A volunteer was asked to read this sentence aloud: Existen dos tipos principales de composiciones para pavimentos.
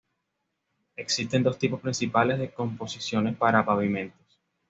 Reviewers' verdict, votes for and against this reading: accepted, 2, 0